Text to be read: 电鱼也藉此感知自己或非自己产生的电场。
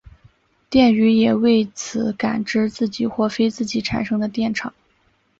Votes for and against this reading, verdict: 2, 1, accepted